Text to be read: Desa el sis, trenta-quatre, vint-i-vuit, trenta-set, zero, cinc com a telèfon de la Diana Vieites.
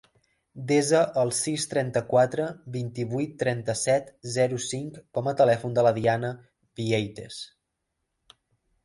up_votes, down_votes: 2, 0